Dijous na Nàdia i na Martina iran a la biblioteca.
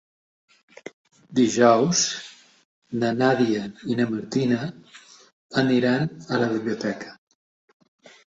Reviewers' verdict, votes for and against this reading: rejected, 0, 2